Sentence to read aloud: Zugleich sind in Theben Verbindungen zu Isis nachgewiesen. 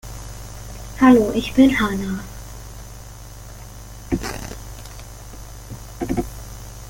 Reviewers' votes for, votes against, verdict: 0, 2, rejected